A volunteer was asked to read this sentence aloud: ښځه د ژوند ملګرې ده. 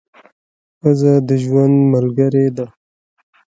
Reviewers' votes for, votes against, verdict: 0, 2, rejected